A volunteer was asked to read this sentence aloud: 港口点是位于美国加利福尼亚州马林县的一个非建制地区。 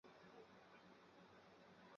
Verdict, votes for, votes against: rejected, 1, 2